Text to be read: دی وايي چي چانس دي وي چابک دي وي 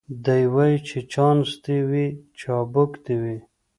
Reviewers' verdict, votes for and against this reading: accepted, 2, 0